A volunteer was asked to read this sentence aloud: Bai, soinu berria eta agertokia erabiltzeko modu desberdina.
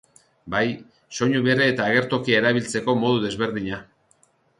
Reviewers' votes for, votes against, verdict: 2, 1, accepted